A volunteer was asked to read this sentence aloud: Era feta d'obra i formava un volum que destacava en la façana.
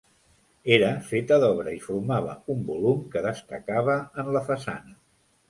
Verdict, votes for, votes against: accepted, 2, 0